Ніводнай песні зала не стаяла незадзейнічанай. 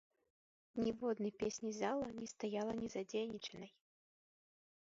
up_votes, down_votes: 2, 0